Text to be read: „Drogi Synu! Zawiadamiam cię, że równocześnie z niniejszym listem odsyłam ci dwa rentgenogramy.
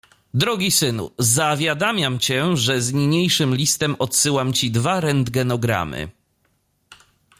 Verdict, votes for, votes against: rejected, 0, 2